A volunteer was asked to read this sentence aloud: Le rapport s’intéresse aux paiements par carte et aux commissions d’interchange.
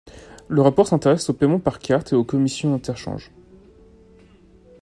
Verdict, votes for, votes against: rejected, 0, 2